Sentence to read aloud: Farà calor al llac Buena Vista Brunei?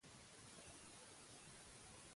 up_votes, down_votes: 0, 2